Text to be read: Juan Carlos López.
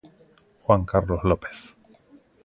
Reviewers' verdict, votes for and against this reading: accepted, 2, 0